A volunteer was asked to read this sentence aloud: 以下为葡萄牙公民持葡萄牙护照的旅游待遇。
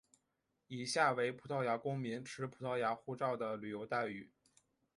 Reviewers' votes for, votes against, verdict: 2, 0, accepted